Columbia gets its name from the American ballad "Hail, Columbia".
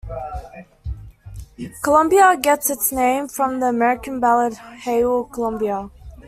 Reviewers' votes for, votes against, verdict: 2, 0, accepted